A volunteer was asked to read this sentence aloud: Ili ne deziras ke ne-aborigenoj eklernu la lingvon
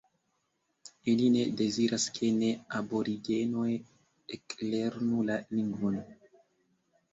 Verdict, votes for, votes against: accepted, 2, 1